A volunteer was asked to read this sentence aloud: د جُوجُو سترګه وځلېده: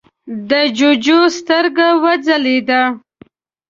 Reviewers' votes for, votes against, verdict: 2, 0, accepted